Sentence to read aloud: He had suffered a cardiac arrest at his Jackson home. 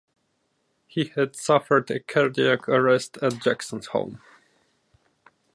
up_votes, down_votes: 0, 2